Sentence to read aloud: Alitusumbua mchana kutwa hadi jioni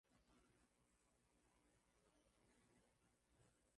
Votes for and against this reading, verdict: 1, 3, rejected